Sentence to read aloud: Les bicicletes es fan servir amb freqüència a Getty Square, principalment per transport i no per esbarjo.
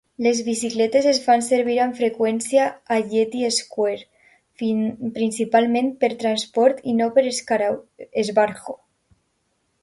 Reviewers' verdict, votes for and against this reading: rejected, 0, 2